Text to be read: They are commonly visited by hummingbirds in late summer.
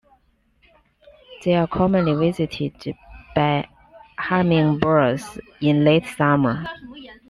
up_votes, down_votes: 2, 0